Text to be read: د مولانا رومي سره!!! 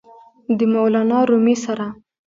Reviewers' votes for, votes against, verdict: 1, 2, rejected